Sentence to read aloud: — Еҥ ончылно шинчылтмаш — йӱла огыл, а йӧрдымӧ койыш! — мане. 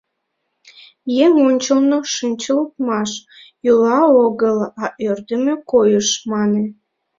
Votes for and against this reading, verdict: 1, 2, rejected